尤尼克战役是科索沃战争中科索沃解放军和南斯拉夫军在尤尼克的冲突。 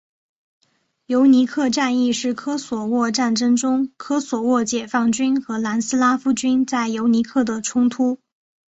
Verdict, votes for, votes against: accepted, 4, 0